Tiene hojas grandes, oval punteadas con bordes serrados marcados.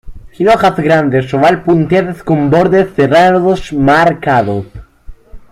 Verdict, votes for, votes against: rejected, 0, 2